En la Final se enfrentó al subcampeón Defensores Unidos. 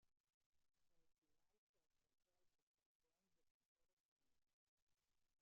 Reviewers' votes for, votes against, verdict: 0, 2, rejected